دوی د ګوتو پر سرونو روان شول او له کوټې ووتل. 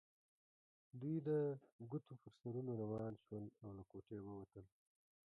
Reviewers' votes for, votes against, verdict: 0, 2, rejected